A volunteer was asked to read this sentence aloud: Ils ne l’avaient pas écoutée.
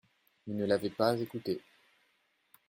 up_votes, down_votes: 2, 0